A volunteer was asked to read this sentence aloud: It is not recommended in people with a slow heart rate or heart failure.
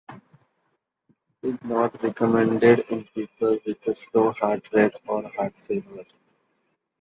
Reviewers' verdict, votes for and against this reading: rejected, 1, 2